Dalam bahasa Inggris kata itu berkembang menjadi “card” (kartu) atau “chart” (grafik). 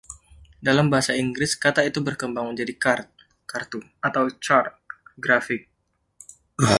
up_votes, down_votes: 0, 2